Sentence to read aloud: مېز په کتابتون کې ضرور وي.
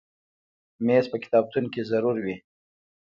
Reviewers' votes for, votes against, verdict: 1, 2, rejected